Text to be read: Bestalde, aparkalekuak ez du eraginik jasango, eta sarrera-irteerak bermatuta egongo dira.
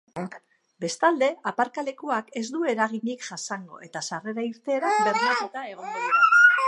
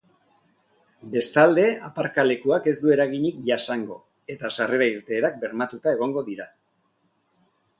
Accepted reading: second